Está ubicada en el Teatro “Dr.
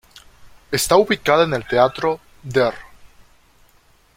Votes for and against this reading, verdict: 0, 2, rejected